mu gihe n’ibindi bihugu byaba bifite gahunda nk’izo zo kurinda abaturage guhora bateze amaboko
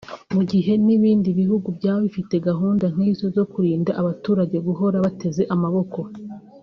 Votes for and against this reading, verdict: 4, 0, accepted